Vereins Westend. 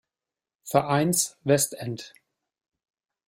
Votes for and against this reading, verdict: 2, 0, accepted